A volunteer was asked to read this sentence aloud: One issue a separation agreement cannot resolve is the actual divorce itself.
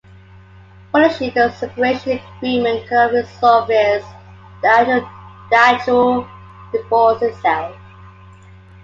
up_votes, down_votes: 1, 2